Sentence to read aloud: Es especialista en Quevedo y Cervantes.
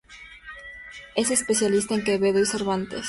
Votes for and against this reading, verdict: 4, 0, accepted